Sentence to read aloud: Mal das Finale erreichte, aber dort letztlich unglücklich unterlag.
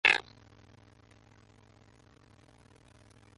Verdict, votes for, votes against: rejected, 0, 2